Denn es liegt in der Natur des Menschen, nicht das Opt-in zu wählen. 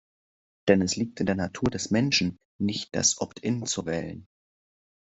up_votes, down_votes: 2, 0